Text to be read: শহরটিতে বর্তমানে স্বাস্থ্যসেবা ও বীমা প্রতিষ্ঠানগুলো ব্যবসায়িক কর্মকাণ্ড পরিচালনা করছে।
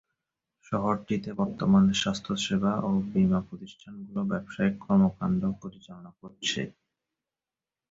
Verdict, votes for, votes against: rejected, 0, 2